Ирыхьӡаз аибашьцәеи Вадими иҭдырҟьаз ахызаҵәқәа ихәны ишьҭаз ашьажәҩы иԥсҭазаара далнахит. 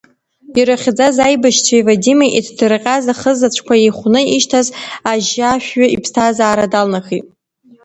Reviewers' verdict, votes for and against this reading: rejected, 1, 2